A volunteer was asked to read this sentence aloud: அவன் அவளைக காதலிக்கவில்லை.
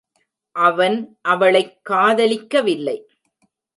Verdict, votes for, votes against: rejected, 1, 2